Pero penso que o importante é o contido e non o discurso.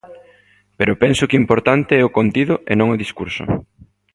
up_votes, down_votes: 1, 2